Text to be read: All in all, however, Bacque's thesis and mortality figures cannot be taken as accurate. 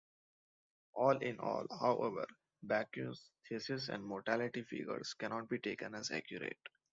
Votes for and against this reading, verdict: 2, 0, accepted